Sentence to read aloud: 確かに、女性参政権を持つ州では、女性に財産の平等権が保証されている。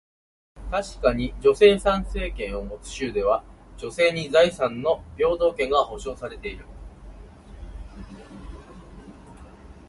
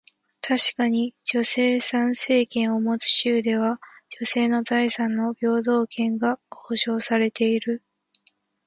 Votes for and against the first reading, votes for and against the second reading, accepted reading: 2, 1, 1, 2, first